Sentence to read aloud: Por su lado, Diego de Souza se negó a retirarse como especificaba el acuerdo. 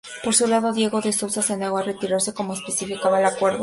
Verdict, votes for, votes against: accepted, 4, 0